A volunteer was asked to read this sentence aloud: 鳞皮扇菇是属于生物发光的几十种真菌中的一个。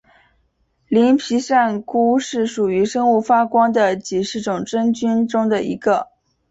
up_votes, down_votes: 2, 1